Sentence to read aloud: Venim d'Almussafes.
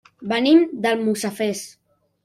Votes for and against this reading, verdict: 0, 2, rejected